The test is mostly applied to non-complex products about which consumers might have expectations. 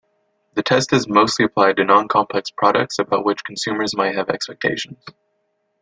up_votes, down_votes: 3, 0